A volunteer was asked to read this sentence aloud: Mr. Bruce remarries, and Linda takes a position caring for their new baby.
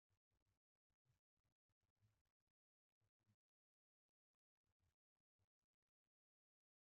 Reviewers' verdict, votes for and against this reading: rejected, 0, 2